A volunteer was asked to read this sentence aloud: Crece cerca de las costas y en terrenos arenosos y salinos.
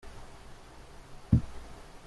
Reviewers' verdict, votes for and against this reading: rejected, 0, 2